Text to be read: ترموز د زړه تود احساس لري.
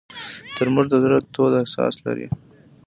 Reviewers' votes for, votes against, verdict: 3, 1, accepted